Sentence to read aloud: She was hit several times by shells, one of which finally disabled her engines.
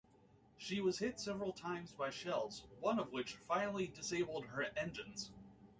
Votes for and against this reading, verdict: 2, 1, accepted